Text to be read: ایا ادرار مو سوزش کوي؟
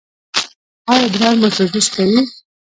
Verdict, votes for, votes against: rejected, 1, 2